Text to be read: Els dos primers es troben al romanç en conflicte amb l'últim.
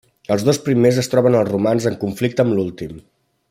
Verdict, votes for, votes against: accepted, 2, 0